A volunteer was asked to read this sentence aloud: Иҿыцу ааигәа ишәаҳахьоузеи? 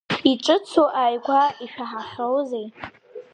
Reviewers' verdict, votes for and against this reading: accepted, 2, 1